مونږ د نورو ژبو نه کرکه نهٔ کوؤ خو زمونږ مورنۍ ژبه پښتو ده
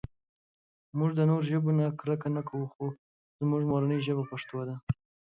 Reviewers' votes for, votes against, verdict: 2, 0, accepted